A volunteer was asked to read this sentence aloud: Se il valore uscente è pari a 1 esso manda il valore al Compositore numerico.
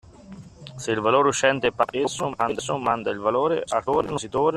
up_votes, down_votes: 0, 2